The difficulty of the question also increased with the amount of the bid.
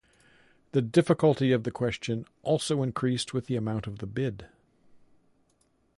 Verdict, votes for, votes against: accepted, 2, 0